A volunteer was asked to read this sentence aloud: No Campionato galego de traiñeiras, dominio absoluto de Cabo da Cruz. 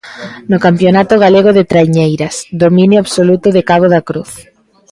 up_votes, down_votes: 0, 2